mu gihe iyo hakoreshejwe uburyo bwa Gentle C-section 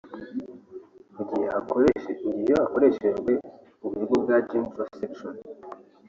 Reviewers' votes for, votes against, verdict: 0, 2, rejected